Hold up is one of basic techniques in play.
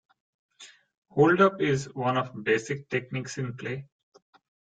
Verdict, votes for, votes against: accepted, 2, 0